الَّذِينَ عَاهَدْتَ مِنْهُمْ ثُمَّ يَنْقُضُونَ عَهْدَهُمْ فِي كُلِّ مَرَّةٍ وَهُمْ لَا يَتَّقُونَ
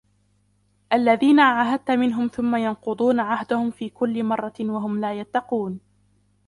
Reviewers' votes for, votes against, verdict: 2, 0, accepted